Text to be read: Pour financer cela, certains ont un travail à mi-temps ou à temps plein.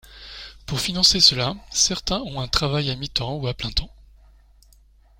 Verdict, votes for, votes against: rejected, 0, 2